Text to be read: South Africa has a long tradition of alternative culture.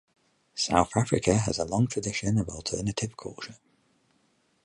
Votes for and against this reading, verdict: 48, 0, accepted